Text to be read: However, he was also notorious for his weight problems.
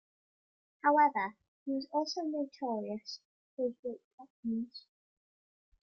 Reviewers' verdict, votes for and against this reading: accepted, 2, 0